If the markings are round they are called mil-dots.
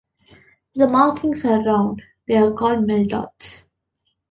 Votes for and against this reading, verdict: 2, 0, accepted